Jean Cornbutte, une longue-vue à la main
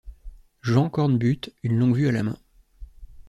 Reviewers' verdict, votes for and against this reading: accepted, 2, 0